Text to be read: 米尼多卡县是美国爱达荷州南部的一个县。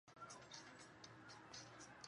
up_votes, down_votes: 0, 2